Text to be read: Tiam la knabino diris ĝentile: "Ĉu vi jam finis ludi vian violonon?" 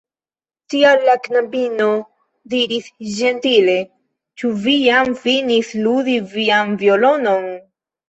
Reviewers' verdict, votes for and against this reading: accepted, 2, 0